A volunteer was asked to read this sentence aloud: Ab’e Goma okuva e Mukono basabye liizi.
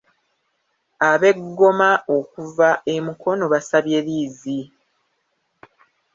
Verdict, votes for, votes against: rejected, 1, 2